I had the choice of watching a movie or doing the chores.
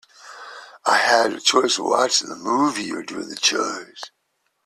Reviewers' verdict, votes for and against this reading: accepted, 2, 1